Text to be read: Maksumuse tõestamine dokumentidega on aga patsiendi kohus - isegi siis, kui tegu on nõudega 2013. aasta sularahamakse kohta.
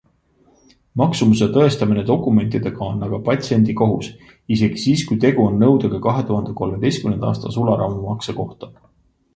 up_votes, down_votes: 0, 2